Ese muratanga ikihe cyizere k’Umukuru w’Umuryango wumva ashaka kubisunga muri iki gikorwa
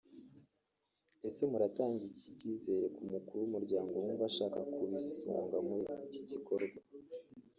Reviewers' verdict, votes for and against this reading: rejected, 1, 2